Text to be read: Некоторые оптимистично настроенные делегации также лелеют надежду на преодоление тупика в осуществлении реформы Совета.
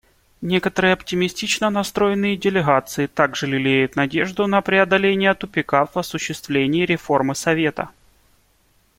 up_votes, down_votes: 2, 0